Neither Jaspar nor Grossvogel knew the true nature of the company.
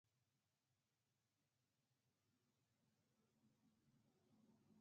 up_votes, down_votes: 0, 6